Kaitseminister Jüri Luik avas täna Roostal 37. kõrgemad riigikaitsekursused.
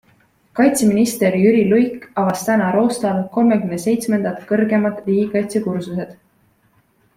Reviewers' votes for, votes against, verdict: 0, 2, rejected